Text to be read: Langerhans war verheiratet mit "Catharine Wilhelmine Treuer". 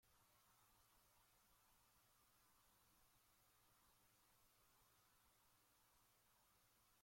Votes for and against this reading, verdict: 0, 2, rejected